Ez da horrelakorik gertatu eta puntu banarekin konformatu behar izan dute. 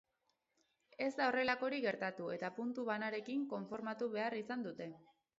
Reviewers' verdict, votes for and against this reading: accepted, 6, 0